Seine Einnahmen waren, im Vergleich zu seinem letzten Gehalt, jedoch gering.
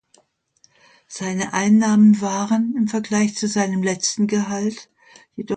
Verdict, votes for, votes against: rejected, 0, 2